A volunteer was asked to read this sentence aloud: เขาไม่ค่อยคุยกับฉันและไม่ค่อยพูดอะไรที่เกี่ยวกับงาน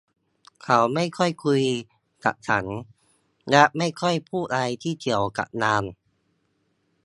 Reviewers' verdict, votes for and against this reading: accepted, 2, 1